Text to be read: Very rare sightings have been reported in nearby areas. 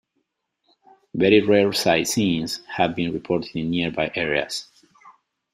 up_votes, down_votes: 1, 2